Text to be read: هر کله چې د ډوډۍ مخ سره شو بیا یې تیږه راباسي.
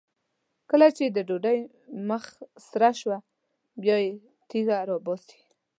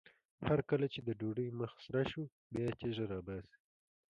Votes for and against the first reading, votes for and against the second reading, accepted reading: 1, 2, 2, 0, second